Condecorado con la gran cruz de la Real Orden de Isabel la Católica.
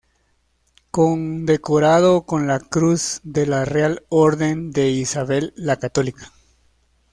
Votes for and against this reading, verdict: 0, 2, rejected